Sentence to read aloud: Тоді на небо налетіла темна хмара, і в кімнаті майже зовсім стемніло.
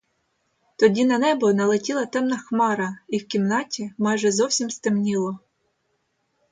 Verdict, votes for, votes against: accepted, 2, 0